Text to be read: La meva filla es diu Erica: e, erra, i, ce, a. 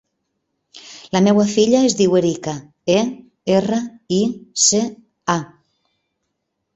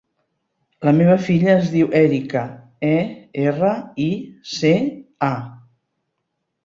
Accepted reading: second